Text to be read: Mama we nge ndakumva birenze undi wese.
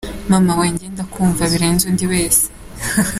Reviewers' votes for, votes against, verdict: 2, 0, accepted